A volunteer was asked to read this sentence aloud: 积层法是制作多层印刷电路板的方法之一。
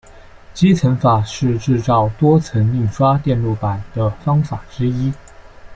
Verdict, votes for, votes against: rejected, 1, 2